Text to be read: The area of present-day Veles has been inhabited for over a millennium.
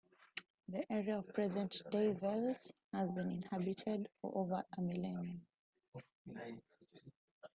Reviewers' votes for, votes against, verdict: 1, 2, rejected